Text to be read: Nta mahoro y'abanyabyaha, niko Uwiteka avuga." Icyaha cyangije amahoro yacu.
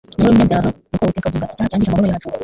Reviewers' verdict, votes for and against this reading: rejected, 0, 3